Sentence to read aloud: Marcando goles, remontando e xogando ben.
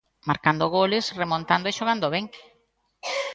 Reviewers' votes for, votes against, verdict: 2, 0, accepted